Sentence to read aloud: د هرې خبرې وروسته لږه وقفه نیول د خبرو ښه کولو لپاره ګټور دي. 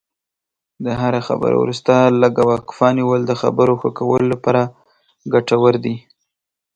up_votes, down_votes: 5, 0